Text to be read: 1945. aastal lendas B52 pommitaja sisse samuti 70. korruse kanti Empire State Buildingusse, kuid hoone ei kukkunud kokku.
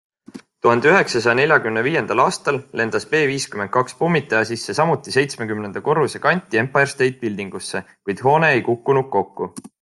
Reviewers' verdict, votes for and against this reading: rejected, 0, 2